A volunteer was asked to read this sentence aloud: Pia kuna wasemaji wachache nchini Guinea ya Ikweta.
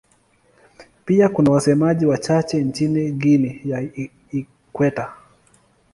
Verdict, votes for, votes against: rejected, 0, 2